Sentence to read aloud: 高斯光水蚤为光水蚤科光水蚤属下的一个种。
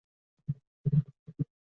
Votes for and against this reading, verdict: 0, 4, rejected